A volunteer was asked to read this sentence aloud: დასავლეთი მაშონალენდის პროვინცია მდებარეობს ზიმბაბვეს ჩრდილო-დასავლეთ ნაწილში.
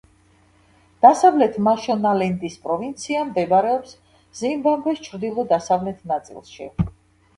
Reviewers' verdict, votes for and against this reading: accepted, 2, 1